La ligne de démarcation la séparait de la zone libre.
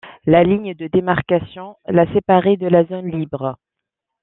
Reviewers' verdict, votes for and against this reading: accepted, 2, 0